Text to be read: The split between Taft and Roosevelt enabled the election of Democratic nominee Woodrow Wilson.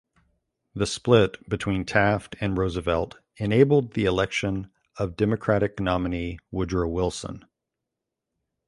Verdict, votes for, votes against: accepted, 2, 0